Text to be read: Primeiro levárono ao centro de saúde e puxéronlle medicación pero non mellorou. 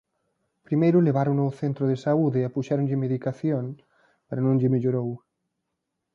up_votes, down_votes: 0, 2